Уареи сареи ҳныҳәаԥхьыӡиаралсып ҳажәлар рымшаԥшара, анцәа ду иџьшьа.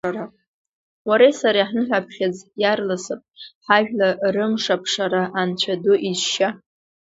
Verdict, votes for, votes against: rejected, 1, 2